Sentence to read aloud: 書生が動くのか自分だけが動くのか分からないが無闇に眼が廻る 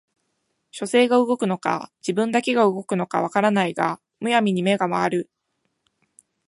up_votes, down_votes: 3, 0